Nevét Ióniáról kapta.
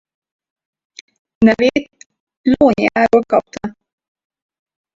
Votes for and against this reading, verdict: 0, 4, rejected